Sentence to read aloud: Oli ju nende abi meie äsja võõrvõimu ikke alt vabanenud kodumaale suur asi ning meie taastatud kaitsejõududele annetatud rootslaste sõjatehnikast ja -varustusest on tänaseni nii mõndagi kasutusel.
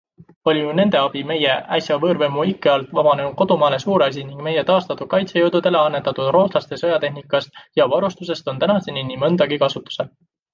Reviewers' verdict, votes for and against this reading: accepted, 2, 0